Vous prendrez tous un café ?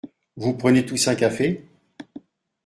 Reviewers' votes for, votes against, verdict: 1, 2, rejected